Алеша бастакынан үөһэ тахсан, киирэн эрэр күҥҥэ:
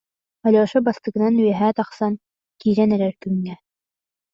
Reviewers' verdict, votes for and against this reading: accepted, 2, 0